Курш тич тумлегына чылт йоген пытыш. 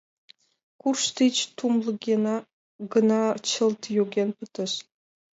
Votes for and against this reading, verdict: 2, 1, accepted